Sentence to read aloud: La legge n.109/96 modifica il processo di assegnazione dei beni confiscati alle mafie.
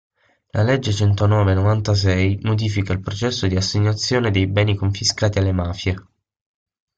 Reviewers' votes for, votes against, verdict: 0, 2, rejected